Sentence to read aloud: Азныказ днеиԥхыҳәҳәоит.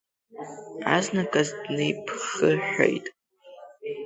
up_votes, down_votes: 0, 2